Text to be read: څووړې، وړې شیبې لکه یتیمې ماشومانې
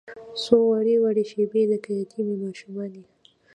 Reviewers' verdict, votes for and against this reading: rejected, 1, 2